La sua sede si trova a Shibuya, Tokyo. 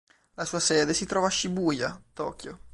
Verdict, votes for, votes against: accepted, 3, 0